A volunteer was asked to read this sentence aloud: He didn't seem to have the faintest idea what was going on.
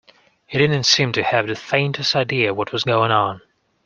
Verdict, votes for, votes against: accepted, 2, 0